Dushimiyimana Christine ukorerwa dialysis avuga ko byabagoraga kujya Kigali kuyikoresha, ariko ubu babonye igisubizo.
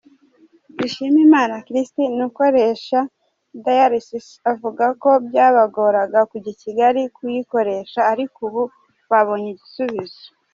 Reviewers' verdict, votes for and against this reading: accepted, 2, 0